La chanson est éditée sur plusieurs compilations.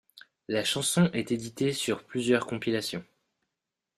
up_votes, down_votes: 2, 0